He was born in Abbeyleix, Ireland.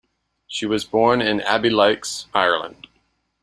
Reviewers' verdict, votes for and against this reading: rejected, 0, 2